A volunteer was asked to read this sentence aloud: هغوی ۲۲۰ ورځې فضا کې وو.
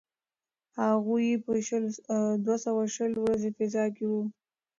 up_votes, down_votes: 0, 2